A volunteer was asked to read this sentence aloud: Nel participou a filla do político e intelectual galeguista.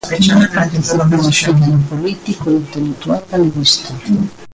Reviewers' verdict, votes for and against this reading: rejected, 0, 2